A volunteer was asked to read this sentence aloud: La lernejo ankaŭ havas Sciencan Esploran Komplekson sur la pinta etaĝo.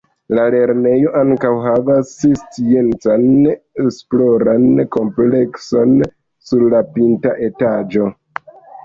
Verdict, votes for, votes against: rejected, 1, 2